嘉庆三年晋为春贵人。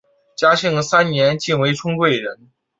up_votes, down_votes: 2, 0